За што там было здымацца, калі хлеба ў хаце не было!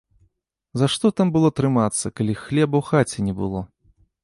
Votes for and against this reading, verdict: 0, 2, rejected